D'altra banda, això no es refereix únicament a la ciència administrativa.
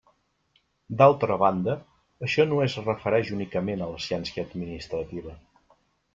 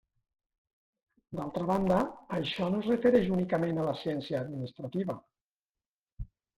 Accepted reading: first